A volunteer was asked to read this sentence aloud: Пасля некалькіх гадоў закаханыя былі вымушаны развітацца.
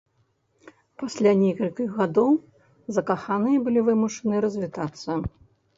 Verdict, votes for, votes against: rejected, 1, 2